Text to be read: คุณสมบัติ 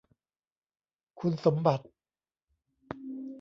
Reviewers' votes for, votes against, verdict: 1, 2, rejected